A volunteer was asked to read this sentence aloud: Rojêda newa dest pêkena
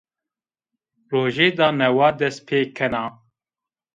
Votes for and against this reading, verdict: 1, 2, rejected